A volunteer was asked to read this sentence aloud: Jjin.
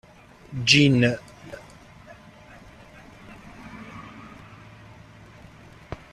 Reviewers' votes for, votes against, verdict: 0, 2, rejected